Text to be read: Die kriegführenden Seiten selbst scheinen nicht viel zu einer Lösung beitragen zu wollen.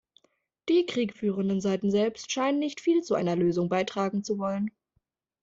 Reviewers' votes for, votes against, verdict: 2, 0, accepted